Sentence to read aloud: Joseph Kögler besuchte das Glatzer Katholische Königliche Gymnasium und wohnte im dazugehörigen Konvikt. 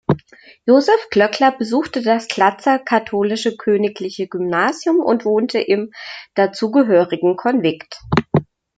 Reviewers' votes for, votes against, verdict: 0, 2, rejected